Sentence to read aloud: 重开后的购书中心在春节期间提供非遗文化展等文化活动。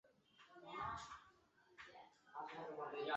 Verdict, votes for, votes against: rejected, 1, 2